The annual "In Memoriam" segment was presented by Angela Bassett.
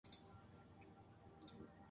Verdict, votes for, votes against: rejected, 0, 2